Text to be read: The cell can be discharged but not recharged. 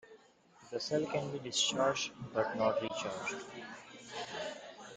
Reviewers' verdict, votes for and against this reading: rejected, 1, 2